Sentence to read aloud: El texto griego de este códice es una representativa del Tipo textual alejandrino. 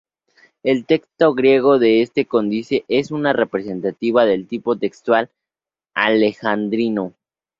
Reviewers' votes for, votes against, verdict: 0, 2, rejected